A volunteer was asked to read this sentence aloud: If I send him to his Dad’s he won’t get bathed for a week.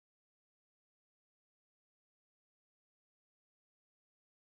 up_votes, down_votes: 0, 2